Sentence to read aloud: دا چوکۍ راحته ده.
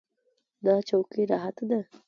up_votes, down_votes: 2, 0